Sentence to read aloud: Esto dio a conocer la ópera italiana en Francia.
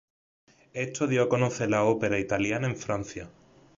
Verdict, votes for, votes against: accepted, 2, 0